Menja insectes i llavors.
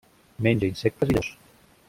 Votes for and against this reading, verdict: 0, 2, rejected